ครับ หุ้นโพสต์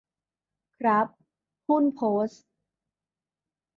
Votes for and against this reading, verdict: 2, 0, accepted